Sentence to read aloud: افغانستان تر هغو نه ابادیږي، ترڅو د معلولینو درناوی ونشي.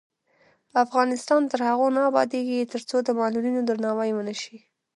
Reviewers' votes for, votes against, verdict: 0, 2, rejected